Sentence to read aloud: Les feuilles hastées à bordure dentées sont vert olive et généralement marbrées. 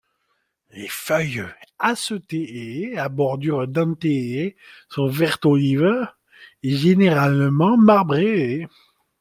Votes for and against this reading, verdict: 1, 2, rejected